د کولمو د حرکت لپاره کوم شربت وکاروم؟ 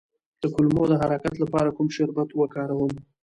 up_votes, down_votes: 2, 1